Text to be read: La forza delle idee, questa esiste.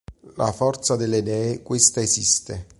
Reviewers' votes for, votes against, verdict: 2, 0, accepted